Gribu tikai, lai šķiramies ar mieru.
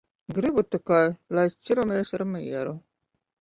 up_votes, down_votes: 1, 2